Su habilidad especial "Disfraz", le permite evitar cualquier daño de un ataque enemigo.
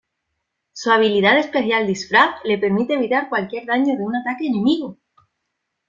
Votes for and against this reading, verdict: 2, 0, accepted